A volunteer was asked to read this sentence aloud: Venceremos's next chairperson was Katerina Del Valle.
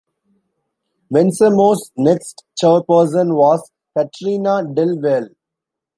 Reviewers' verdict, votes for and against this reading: rejected, 0, 2